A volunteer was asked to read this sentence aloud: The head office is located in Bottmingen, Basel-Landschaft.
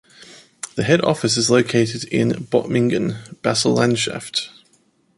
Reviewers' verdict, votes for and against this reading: accepted, 2, 0